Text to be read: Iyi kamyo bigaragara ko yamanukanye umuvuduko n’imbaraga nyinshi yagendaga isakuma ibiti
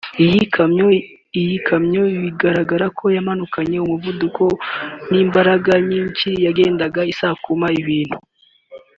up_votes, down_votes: 1, 2